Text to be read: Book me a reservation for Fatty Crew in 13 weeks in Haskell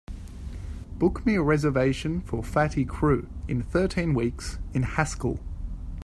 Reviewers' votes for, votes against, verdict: 0, 2, rejected